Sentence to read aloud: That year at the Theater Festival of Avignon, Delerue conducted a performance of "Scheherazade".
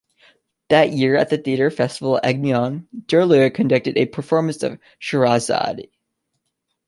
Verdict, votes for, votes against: rejected, 1, 3